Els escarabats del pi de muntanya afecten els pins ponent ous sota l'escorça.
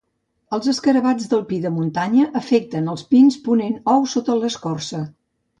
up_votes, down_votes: 2, 0